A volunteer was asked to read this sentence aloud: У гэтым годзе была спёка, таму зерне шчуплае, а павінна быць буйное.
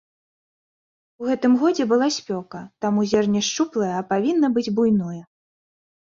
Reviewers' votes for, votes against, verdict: 2, 0, accepted